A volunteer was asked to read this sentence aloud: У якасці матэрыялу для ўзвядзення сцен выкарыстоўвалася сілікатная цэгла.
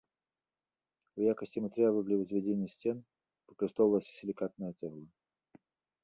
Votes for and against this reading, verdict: 2, 1, accepted